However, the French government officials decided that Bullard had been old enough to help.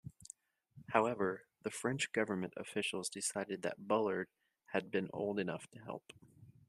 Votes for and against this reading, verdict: 2, 0, accepted